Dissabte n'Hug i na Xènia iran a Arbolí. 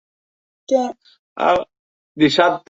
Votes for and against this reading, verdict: 0, 2, rejected